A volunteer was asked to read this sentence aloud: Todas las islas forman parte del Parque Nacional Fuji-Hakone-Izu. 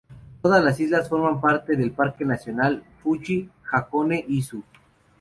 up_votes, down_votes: 2, 0